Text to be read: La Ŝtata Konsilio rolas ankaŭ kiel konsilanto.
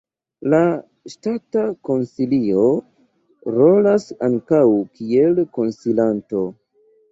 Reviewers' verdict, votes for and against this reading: accepted, 2, 0